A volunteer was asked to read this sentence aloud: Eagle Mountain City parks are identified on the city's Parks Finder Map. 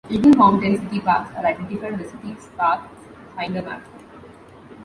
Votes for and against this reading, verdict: 1, 2, rejected